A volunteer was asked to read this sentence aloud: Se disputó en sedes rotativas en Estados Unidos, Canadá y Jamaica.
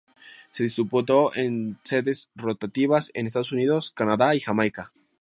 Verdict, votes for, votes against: rejected, 2, 2